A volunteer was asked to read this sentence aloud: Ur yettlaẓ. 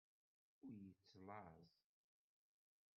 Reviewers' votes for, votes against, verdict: 1, 2, rejected